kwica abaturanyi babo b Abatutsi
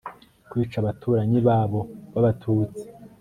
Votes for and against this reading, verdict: 5, 0, accepted